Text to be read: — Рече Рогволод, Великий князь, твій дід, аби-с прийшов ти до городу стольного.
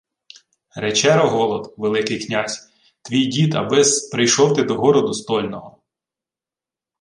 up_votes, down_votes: 2, 0